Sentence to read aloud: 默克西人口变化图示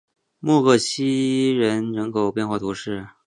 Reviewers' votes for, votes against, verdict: 1, 2, rejected